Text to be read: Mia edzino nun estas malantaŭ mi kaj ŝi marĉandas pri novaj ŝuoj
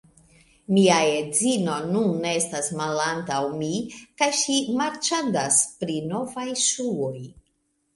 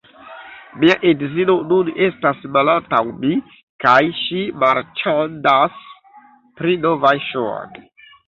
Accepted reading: first